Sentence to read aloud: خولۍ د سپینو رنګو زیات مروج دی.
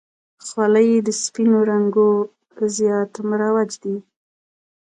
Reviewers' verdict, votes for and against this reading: accepted, 2, 1